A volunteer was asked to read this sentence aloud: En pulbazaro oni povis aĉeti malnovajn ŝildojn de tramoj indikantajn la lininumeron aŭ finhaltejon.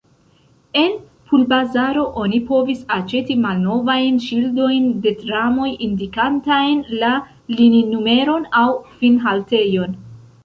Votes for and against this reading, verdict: 0, 2, rejected